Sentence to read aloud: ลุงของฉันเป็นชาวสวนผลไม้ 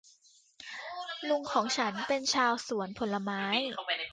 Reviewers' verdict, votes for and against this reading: rejected, 1, 2